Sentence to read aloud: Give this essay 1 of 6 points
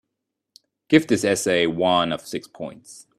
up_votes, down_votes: 0, 2